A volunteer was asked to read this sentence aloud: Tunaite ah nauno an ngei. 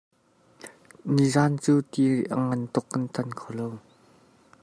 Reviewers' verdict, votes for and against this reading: rejected, 0, 2